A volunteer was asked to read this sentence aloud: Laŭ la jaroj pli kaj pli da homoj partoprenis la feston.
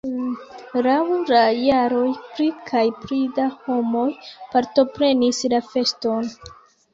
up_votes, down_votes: 0, 2